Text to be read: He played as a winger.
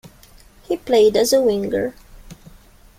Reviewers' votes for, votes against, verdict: 2, 1, accepted